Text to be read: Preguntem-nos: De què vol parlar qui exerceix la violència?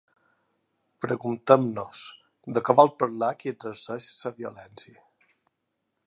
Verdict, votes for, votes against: rejected, 0, 3